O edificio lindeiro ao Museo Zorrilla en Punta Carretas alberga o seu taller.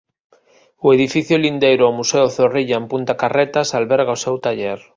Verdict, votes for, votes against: accepted, 3, 1